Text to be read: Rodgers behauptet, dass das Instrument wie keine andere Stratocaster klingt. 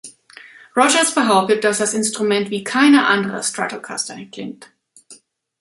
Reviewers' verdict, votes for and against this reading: rejected, 1, 2